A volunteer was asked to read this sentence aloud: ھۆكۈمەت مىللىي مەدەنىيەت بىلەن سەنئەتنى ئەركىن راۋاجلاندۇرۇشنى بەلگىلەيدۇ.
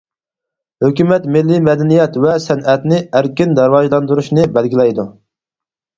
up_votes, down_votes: 2, 4